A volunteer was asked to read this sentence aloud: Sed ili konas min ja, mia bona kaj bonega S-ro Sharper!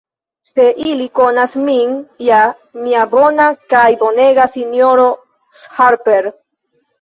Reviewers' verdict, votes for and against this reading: rejected, 0, 2